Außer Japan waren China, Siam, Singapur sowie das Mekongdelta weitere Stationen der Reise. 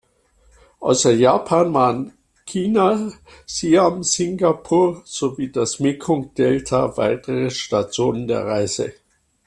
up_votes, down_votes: 2, 0